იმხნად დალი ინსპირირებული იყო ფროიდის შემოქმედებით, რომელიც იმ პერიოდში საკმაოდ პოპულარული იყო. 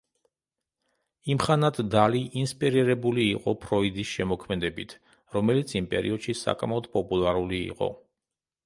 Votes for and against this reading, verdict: 0, 2, rejected